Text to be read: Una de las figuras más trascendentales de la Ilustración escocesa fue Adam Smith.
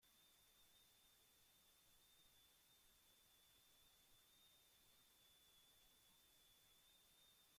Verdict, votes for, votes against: rejected, 0, 2